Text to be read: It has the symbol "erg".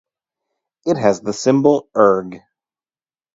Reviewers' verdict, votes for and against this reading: accepted, 2, 0